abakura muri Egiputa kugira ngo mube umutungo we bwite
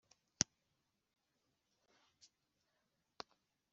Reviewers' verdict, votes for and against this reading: rejected, 0, 2